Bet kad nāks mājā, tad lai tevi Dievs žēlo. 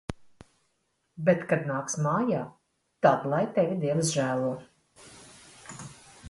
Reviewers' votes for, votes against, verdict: 2, 0, accepted